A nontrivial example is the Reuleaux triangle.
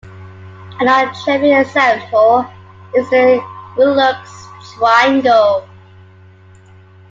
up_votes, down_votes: 0, 2